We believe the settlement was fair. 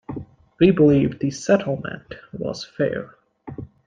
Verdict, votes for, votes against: accepted, 2, 0